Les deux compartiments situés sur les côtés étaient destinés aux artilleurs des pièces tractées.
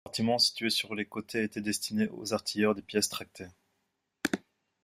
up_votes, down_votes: 0, 2